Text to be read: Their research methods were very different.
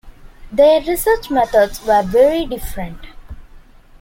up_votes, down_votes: 2, 1